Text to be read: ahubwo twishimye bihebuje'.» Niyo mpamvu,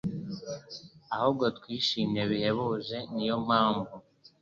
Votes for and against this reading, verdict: 2, 0, accepted